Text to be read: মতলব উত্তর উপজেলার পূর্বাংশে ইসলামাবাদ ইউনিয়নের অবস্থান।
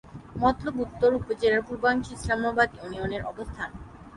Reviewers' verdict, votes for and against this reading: accepted, 3, 0